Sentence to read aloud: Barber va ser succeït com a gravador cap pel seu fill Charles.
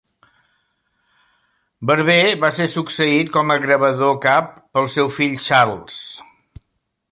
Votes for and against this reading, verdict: 2, 0, accepted